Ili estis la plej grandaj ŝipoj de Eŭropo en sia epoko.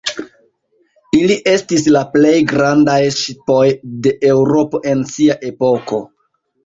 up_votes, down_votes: 1, 2